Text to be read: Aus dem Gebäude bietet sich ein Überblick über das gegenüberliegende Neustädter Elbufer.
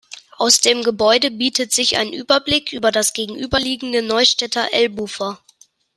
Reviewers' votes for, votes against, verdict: 2, 0, accepted